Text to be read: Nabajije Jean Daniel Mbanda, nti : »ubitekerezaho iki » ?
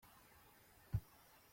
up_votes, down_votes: 0, 2